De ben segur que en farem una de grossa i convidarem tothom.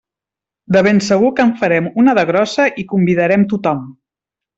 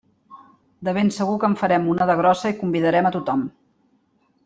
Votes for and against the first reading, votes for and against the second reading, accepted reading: 3, 0, 0, 2, first